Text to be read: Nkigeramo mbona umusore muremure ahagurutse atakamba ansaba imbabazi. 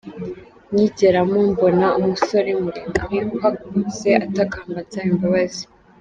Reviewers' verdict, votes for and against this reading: rejected, 1, 2